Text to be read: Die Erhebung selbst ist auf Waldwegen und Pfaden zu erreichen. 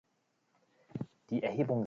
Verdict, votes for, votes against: rejected, 0, 3